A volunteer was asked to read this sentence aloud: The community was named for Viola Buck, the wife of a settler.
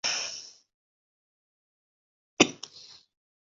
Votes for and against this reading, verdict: 0, 2, rejected